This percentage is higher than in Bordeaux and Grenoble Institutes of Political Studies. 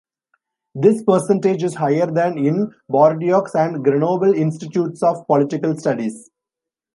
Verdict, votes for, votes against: rejected, 1, 2